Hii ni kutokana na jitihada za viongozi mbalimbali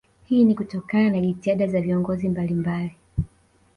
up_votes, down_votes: 2, 0